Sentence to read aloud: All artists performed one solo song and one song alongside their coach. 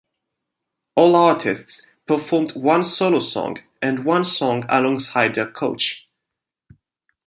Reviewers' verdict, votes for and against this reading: accepted, 2, 0